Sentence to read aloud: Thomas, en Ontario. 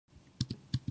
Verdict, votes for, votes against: rejected, 0, 2